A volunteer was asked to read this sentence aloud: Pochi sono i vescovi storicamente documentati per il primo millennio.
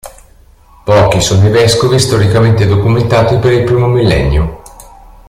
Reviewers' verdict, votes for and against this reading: accepted, 2, 0